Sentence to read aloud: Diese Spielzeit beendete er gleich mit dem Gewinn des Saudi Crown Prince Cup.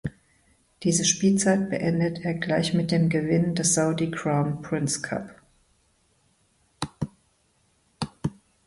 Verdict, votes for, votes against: rejected, 0, 2